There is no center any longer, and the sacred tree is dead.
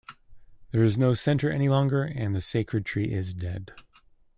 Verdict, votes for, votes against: accepted, 2, 0